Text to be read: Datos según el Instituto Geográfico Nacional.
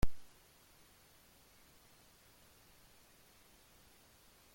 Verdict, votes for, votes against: rejected, 0, 2